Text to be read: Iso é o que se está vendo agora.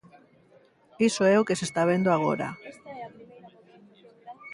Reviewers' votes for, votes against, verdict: 0, 3, rejected